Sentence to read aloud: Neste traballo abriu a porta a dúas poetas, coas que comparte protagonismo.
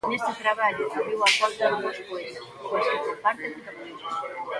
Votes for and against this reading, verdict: 0, 2, rejected